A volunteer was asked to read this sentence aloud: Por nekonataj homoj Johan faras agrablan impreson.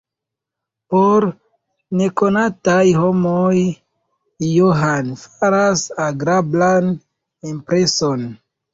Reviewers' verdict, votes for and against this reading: rejected, 0, 2